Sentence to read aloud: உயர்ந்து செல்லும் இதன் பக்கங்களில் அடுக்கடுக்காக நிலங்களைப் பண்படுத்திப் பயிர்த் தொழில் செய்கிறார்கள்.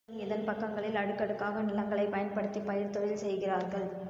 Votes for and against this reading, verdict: 2, 0, accepted